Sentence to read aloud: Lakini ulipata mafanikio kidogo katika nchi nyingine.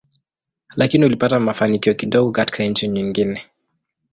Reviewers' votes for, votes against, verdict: 2, 0, accepted